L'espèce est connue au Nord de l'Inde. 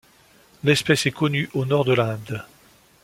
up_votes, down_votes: 2, 0